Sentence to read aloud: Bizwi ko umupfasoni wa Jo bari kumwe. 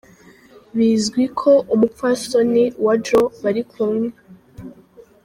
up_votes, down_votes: 2, 1